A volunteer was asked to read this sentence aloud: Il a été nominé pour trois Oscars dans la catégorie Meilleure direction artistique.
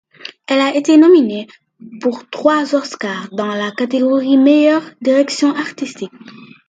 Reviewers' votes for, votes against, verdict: 2, 1, accepted